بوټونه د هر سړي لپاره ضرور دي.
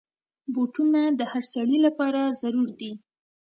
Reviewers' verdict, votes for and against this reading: accepted, 3, 0